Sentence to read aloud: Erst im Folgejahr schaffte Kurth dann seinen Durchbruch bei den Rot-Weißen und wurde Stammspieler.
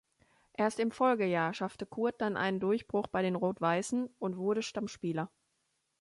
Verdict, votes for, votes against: rejected, 0, 3